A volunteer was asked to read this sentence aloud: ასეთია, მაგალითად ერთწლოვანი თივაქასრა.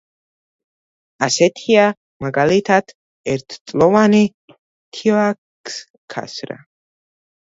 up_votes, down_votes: 1, 2